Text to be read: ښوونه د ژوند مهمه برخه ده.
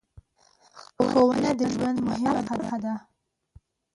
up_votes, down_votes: 0, 2